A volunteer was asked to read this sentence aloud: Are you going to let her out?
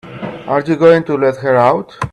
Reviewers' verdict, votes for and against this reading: accepted, 2, 1